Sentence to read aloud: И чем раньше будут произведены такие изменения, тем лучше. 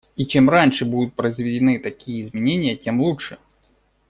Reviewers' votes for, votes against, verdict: 2, 0, accepted